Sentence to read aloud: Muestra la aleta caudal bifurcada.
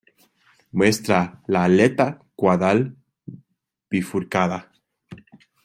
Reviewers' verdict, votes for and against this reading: rejected, 0, 2